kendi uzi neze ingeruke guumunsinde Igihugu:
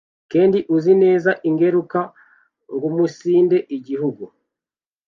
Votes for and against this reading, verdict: 2, 1, accepted